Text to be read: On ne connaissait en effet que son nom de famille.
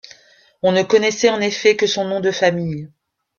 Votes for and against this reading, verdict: 2, 0, accepted